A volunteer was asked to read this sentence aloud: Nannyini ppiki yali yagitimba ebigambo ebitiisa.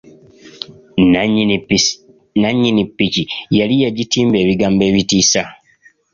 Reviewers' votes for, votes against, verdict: 2, 0, accepted